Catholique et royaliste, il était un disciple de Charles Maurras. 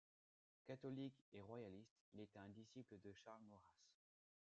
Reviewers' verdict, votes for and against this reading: accepted, 2, 0